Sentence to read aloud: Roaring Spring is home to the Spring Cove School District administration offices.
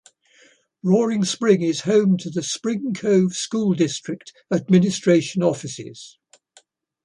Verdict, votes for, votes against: accepted, 2, 0